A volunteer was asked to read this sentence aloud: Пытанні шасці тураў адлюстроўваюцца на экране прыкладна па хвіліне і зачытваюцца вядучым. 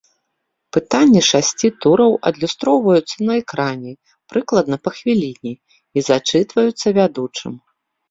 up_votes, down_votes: 2, 0